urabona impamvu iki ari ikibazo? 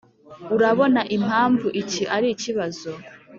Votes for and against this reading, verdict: 2, 0, accepted